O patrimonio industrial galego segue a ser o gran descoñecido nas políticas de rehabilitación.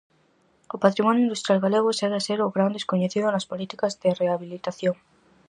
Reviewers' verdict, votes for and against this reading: accepted, 4, 0